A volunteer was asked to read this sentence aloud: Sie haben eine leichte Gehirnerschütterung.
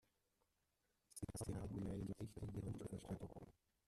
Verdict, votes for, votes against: rejected, 0, 2